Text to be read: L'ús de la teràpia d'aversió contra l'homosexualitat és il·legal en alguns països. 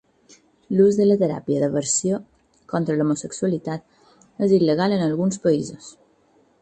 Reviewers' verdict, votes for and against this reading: accepted, 8, 0